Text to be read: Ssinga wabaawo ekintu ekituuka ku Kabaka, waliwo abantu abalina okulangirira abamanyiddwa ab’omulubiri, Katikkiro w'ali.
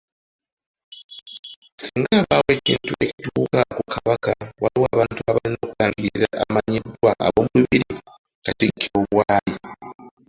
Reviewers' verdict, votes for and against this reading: rejected, 1, 2